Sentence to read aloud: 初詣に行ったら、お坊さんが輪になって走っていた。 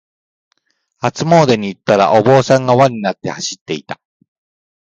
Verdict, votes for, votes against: rejected, 1, 2